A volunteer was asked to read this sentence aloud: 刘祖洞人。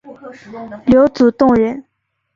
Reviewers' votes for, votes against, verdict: 2, 0, accepted